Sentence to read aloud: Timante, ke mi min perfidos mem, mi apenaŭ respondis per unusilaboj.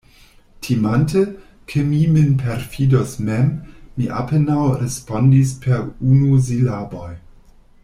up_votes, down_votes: 1, 2